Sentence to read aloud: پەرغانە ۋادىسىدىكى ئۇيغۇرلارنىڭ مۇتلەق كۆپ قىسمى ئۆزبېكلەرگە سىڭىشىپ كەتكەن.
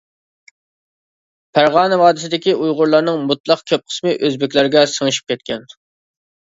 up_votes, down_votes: 2, 0